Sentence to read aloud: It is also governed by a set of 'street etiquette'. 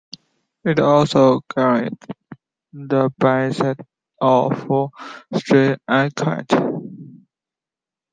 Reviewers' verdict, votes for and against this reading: rejected, 0, 2